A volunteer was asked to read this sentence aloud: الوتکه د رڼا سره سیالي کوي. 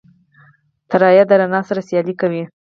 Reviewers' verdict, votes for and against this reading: rejected, 2, 4